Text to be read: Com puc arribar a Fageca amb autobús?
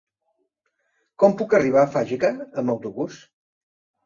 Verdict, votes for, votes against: accepted, 3, 0